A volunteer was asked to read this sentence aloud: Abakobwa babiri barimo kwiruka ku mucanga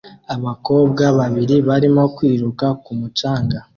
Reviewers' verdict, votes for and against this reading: accepted, 2, 0